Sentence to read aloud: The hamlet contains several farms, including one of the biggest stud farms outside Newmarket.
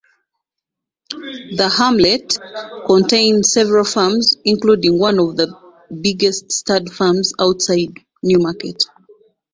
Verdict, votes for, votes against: accepted, 2, 1